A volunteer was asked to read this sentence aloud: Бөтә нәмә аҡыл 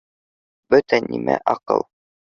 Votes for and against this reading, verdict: 0, 2, rejected